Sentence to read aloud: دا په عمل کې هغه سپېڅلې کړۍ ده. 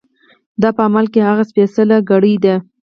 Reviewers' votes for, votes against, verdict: 0, 4, rejected